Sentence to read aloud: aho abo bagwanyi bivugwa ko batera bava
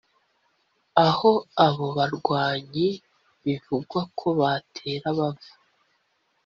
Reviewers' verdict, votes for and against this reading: accepted, 3, 0